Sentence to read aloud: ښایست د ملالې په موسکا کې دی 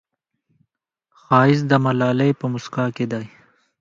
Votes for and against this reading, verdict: 2, 1, accepted